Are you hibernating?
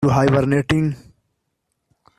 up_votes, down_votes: 0, 2